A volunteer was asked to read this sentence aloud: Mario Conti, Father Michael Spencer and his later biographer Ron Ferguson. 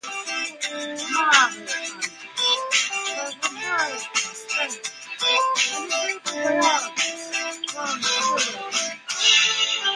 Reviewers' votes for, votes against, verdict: 0, 2, rejected